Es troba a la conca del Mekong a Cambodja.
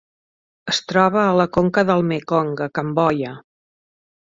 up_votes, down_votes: 2, 0